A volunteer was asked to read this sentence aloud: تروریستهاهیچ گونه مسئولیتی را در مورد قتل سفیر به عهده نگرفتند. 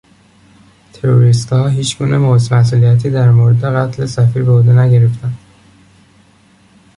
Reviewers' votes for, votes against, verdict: 1, 2, rejected